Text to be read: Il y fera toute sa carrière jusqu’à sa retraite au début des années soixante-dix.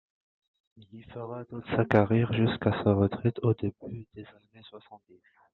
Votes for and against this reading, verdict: 0, 3, rejected